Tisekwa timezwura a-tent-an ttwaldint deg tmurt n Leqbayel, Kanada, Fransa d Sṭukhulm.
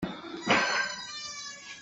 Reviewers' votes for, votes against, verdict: 0, 2, rejected